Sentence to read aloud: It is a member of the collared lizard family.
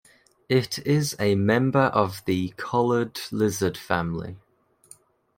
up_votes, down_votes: 2, 0